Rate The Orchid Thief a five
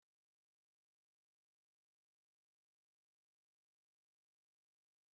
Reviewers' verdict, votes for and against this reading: rejected, 0, 2